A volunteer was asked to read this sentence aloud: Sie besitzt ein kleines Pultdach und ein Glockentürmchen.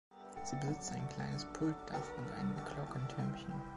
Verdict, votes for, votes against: accepted, 2, 0